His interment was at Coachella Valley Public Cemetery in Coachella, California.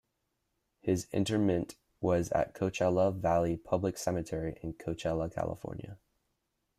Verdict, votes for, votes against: rejected, 1, 2